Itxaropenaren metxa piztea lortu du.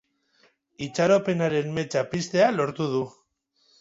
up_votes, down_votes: 0, 2